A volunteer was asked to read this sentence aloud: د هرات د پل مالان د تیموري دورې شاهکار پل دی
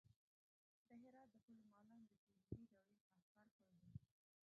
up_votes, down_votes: 0, 2